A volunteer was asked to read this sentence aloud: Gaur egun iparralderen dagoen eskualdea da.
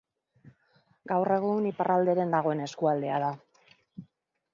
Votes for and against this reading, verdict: 2, 0, accepted